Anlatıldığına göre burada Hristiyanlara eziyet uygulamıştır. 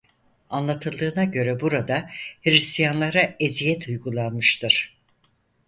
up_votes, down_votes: 2, 4